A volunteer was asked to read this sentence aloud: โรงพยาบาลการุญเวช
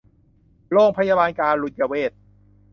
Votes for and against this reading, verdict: 2, 0, accepted